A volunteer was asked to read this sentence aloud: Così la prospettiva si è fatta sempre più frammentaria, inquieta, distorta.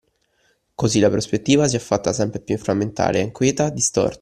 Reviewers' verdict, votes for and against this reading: rejected, 1, 2